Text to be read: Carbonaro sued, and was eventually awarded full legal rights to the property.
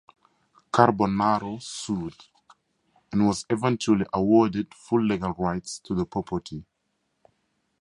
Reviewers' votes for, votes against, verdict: 2, 0, accepted